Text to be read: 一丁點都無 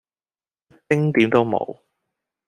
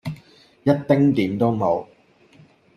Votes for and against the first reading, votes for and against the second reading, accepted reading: 0, 2, 2, 0, second